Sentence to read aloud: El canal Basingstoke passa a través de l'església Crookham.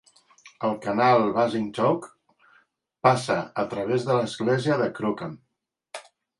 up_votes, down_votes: 1, 2